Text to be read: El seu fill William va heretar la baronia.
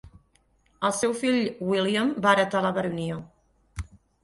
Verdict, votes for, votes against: accepted, 12, 0